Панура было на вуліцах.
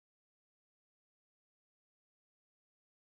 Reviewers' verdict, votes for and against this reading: rejected, 0, 2